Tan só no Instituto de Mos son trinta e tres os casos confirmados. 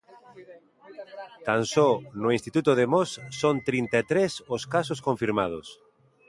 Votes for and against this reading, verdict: 0, 2, rejected